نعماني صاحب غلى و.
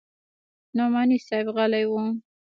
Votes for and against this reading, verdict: 2, 1, accepted